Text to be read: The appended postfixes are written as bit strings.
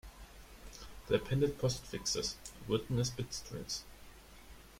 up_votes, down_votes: 0, 2